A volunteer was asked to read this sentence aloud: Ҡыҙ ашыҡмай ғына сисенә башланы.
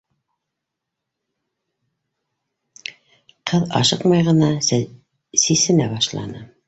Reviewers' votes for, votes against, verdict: 0, 4, rejected